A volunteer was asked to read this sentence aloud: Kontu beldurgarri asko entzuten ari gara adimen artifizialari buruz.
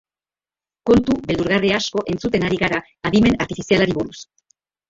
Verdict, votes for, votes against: rejected, 1, 2